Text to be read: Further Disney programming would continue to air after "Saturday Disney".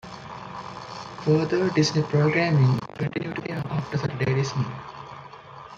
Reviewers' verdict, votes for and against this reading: rejected, 1, 2